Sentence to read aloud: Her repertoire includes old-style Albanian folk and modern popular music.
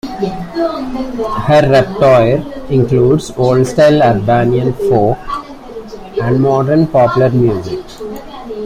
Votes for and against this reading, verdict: 1, 2, rejected